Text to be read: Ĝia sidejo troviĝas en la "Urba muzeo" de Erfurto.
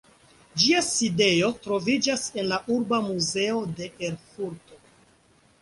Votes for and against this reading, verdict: 2, 0, accepted